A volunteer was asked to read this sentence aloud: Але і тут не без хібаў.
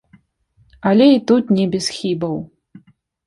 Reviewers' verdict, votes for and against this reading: rejected, 1, 2